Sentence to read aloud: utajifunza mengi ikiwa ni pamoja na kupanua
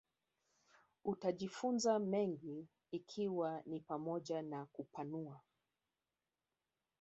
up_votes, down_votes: 1, 2